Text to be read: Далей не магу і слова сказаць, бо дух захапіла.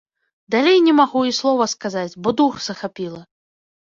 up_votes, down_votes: 2, 0